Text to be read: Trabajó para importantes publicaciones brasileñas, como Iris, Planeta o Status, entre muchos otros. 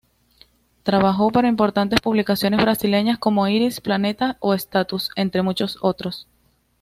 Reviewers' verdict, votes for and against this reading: accepted, 2, 0